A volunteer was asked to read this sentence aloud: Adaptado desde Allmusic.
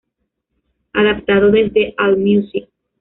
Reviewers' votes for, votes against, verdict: 1, 2, rejected